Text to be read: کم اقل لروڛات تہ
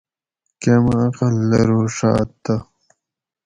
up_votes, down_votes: 2, 2